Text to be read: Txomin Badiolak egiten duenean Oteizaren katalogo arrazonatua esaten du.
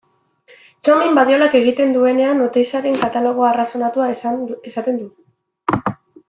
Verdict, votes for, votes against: rejected, 1, 2